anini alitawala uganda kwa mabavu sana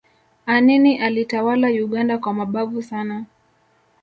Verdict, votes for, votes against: accepted, 2, 0